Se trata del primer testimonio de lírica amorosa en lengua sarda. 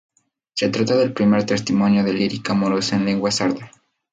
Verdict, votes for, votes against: accepted, 4, 0